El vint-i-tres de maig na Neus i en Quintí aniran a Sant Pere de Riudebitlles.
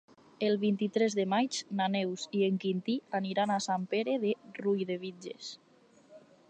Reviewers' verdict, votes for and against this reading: rejected, 2, 2